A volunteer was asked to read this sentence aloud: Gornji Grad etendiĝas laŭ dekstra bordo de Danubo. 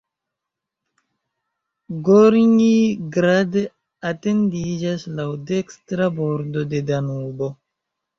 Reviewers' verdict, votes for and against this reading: rejected, 0, 2